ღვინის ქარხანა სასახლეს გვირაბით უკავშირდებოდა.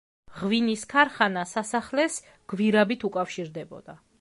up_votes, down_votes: 3, 0